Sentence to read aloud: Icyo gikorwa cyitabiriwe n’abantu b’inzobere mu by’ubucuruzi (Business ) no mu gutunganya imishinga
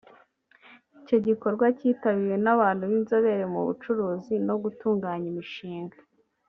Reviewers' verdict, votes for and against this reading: rejected, 0, 2